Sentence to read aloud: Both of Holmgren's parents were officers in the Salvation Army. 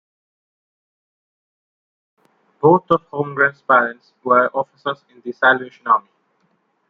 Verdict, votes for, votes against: rejected, 0, 2